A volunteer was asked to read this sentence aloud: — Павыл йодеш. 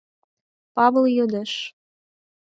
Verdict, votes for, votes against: accepted, 4, 2